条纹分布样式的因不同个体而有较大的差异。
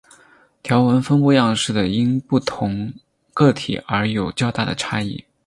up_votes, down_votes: 6, 0